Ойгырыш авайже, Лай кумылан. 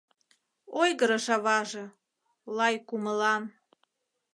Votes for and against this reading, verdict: 0, 2, rejected